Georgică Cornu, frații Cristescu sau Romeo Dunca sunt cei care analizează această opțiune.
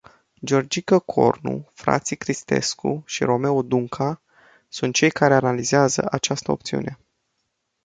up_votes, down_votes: 0, 2